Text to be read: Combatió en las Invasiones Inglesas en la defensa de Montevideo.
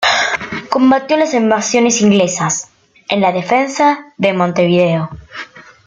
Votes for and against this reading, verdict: 2, 0, accepted